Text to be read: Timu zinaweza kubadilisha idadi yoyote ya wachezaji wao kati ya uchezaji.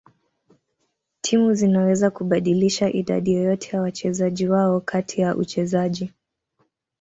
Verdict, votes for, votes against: accepted, 2, 0